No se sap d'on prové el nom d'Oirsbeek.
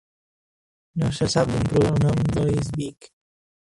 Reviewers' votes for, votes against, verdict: 0, 2, rejected